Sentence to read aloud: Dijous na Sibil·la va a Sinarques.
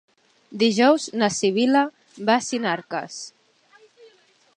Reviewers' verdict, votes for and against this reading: accepted, 4, 0